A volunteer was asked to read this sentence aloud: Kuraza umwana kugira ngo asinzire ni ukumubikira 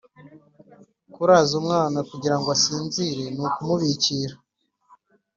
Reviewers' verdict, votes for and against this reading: accepted, 2, 0